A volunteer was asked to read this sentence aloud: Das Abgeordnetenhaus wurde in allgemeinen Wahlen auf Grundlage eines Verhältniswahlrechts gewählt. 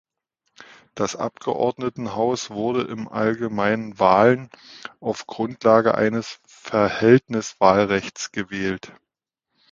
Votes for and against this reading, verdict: 1, 2, rejected